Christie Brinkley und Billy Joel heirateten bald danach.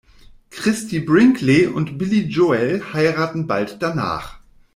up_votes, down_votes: 0, 2